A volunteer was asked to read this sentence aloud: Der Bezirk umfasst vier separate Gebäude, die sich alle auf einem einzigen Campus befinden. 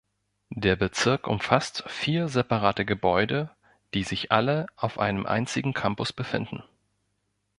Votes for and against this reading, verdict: 2, 0, accepted